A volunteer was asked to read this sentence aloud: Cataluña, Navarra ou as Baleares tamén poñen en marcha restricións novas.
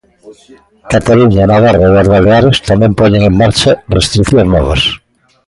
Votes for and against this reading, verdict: 1, 2, rejected